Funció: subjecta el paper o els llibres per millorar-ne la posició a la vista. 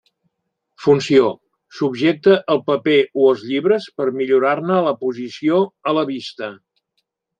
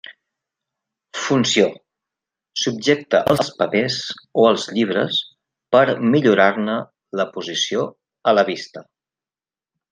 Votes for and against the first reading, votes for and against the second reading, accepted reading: 2, 0, 0, 2, first